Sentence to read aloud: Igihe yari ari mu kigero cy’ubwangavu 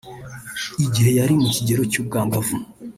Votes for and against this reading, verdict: 1, 2, rejected